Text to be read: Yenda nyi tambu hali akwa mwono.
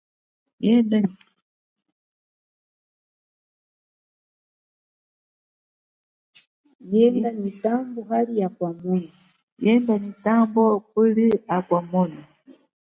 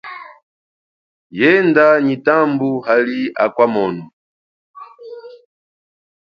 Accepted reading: second